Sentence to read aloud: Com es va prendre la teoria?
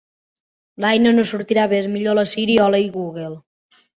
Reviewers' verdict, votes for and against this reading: rejected, 1, 3